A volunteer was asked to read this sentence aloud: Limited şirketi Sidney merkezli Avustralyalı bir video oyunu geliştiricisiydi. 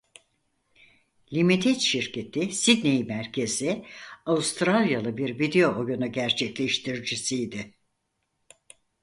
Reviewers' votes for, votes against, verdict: 2, 4, rejected